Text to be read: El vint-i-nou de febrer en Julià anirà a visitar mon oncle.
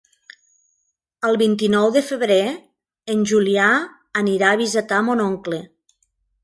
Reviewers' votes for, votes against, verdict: 2, 0, accepted